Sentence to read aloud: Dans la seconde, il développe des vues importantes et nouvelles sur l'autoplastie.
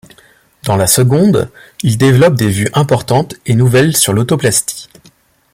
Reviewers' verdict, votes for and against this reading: accepted, 2, 0